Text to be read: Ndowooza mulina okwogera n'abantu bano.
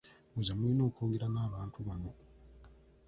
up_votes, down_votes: 0, 2